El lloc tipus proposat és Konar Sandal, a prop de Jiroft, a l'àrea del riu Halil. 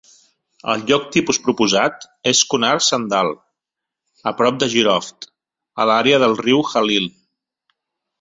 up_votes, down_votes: 2, 0